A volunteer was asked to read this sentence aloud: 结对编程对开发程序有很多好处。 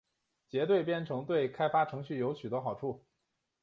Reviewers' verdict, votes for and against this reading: rejected, 1, 2